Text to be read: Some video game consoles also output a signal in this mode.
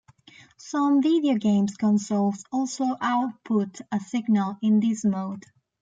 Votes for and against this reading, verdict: 0, 2, rejected